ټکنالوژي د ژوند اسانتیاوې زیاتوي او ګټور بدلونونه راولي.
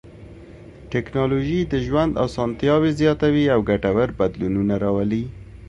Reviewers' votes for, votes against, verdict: 2, 0, accepted